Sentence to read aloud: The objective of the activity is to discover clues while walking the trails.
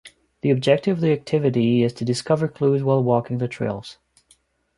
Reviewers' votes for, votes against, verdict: 2, 0, accepted